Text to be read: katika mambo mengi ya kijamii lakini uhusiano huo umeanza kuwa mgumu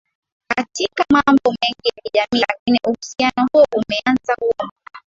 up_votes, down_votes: 0, 2